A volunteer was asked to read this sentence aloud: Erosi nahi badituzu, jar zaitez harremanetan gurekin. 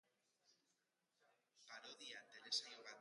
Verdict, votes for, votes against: rejected, 0, 2